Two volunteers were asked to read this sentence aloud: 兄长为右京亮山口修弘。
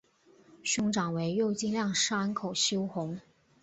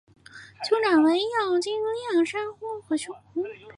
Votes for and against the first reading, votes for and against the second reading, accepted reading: 2, 0, 0, 2, first